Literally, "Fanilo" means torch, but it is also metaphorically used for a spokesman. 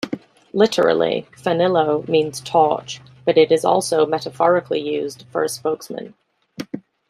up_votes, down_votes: 2, 0